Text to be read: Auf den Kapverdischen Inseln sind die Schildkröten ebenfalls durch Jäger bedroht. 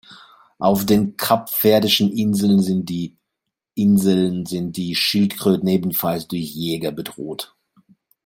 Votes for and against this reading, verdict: 0, 2, rejected